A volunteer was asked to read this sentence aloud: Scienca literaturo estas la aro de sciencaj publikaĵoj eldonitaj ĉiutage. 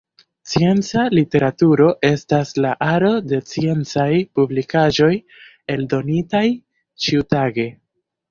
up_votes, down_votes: 2, 0